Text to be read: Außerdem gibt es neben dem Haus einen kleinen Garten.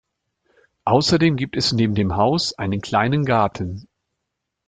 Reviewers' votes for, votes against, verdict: 2, 0, accepted